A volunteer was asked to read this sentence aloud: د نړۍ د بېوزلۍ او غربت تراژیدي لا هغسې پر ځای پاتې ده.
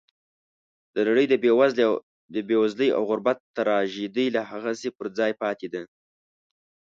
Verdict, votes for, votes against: rejected, 0, 2